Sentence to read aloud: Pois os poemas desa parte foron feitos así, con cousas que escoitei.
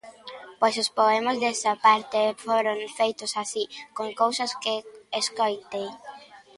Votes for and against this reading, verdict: 0, 2, rejected